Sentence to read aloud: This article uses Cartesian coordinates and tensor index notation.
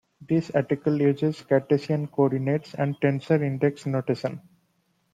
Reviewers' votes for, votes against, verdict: 2, 0, accepted